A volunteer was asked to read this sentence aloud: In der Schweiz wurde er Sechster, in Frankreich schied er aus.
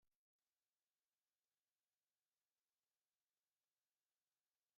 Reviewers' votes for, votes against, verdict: 0, 2, rejected